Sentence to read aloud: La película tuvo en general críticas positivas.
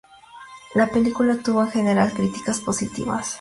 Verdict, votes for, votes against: accepted, 4, 0